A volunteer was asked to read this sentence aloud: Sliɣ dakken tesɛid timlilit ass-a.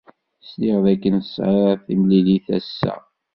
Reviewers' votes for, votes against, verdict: 2, 0, accepted